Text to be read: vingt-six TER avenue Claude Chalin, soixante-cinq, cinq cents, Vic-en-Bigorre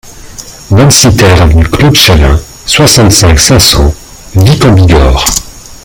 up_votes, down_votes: 2, 0